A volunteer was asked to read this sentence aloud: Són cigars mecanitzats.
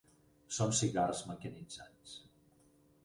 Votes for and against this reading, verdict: 0, 4, rejected